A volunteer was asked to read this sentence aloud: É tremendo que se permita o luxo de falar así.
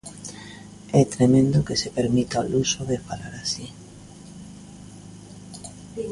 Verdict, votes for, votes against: accepted, 2, 0